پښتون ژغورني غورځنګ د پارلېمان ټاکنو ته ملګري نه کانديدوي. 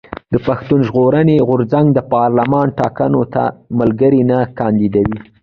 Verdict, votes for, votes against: rejected, 0, 2